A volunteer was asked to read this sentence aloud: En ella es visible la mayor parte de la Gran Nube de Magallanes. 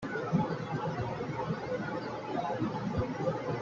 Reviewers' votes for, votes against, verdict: 0, 2, rejected